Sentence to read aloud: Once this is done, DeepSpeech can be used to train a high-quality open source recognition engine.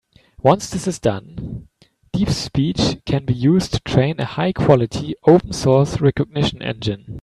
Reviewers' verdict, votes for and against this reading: accepted, 3, 0